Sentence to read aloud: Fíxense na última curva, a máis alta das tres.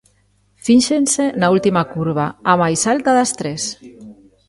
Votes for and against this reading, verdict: 0, 2, rejected